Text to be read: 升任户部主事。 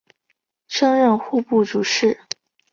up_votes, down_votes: 4, 0